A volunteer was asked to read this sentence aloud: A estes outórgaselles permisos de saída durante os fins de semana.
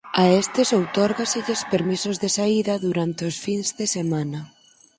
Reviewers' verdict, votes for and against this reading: accepted, 4, 0